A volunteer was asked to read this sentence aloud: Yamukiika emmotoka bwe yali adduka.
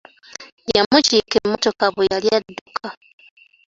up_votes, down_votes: 2, 0